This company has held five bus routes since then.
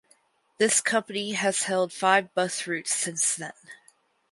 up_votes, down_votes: 4, 0